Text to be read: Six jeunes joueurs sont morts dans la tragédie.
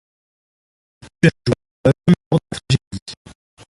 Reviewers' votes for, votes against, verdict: 0, 2, rejected